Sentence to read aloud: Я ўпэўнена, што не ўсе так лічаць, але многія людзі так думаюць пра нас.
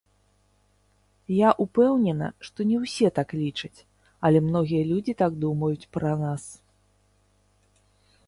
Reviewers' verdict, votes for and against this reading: rejected, 0, 3